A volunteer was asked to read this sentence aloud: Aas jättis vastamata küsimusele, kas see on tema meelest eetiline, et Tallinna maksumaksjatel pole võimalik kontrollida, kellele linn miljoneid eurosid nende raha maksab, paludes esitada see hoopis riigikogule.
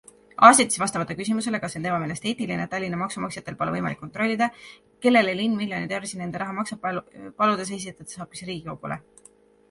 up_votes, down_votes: 1, 2